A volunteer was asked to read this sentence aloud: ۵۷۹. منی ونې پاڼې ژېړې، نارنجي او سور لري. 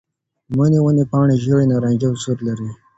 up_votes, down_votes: 0, 2